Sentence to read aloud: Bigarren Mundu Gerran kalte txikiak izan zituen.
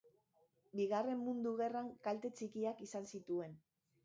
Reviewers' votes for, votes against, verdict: 1, 2, rejected